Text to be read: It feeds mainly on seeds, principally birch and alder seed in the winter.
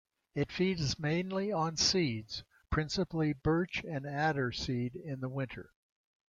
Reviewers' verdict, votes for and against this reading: accepted, 2, 1